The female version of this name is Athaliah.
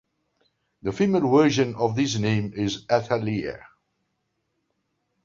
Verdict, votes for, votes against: accepted, 2, 0